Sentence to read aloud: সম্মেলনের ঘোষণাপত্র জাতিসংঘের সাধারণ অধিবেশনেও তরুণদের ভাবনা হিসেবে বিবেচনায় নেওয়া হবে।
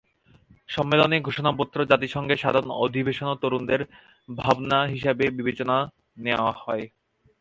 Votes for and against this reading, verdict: 0, 2, rejected